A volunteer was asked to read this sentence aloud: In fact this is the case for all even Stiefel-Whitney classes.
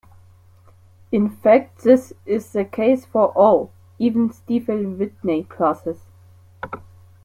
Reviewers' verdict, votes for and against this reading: accepted, 2, 1